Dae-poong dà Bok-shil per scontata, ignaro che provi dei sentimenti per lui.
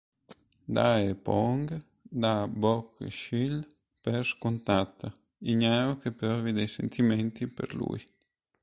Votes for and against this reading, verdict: 3, 1, accepted